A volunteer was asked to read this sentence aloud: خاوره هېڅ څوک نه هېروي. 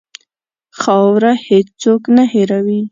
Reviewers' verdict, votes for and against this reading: accepted, 2, 0